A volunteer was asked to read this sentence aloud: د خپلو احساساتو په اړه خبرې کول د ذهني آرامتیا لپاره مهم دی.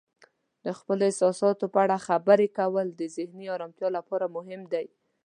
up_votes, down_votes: 2, 0